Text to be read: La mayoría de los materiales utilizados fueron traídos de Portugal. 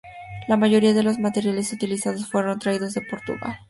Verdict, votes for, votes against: accepted, 2, 0